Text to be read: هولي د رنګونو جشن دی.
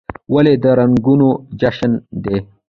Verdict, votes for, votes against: accepted, 2, 0